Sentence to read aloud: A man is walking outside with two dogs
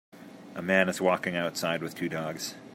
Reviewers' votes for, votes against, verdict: 3, 0, accepted